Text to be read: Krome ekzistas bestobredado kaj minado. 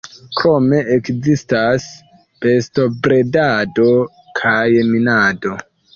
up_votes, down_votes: 0, 2